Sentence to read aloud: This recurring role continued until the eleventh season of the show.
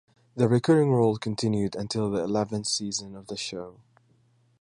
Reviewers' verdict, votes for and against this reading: rejected, 1, 2